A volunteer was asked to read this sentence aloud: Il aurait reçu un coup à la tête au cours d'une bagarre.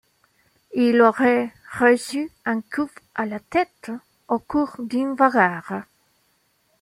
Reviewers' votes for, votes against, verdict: 1, 2, rejected